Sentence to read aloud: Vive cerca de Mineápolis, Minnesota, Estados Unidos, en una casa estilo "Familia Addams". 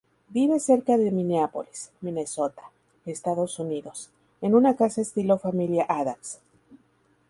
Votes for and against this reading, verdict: 2, 0, accepted